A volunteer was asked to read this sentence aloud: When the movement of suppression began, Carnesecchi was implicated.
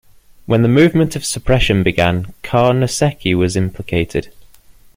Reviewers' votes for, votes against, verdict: 2, 0, accepted